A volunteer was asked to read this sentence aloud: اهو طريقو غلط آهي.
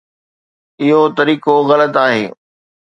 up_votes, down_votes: 2, 0